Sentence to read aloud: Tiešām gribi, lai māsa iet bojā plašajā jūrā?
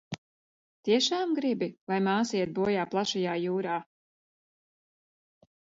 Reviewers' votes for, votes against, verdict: 2, 0, accepted